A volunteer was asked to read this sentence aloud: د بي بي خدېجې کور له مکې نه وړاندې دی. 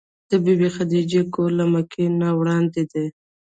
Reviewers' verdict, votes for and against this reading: rejected, 1, 2